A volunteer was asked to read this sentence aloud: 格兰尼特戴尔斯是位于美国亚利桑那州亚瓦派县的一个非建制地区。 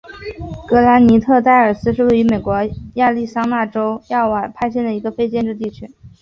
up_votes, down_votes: 2, 0